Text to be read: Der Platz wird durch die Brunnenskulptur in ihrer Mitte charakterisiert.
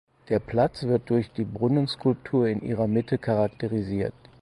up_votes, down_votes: 4, 0